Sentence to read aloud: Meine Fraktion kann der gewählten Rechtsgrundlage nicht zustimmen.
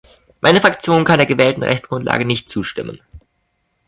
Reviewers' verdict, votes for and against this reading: accepted, 2, 1